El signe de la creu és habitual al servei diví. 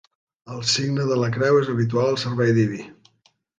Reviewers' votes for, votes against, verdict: 2, 0, accepted